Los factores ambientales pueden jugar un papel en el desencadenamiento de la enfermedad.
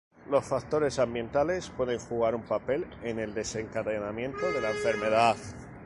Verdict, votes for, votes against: accepted, 4, 2